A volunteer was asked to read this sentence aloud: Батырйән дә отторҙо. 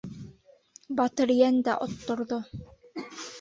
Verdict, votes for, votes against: rejected, 1, 2